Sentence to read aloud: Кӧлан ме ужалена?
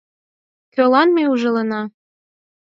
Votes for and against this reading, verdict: 4, 0, accepted